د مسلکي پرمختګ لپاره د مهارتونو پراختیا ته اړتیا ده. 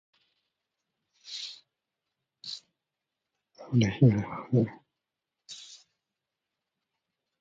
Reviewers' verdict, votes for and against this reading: rejected, 0, 2